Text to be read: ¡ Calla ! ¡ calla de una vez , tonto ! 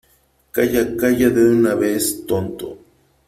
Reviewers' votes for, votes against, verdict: 3, 0, accepted